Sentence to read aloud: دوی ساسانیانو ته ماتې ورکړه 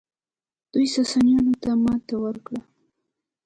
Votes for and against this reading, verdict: 1, 2, rejected